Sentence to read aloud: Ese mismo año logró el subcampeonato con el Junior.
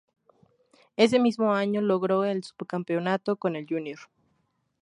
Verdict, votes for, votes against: rejected, 2, 2